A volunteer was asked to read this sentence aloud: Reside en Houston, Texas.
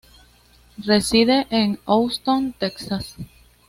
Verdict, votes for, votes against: accepted, 2, 0